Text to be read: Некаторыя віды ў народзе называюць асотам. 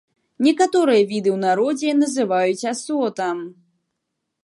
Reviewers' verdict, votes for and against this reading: accepted, 2, 0